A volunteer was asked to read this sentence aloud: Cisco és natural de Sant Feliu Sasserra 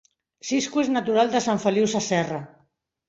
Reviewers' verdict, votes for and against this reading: accepted, 2, 0